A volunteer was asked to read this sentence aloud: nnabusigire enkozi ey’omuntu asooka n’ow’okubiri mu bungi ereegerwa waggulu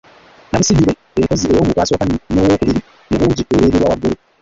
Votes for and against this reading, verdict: 1, 2, rejected